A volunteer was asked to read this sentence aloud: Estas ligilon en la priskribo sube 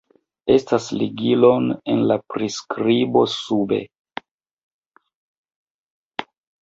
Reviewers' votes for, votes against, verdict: 2, 1, accepted